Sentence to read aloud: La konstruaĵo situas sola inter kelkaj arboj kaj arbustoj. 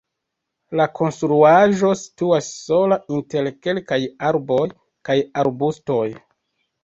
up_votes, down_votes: 2, 1